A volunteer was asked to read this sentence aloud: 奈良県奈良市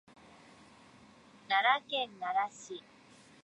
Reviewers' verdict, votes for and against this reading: rejected, 0, 2